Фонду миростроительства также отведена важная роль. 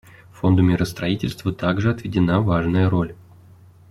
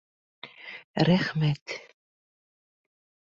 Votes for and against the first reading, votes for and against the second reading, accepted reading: 2, 0, 0, 2, first